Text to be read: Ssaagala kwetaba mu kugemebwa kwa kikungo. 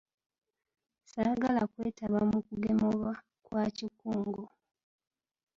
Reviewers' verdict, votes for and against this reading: rejected, 0, 2